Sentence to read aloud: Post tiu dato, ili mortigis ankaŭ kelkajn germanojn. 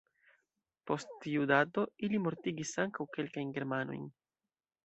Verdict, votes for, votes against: accepted, 2, 1